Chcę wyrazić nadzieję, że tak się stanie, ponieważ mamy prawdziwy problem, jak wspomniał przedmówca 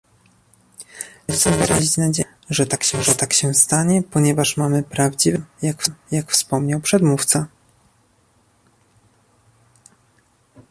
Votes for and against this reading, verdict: 0, 2, rejected